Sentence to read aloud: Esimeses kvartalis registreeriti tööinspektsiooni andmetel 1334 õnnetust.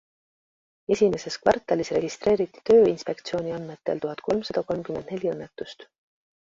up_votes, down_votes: 0, 2